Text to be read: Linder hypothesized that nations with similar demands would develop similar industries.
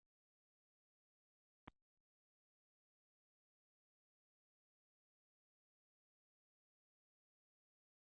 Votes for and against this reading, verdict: 0, 2, rejected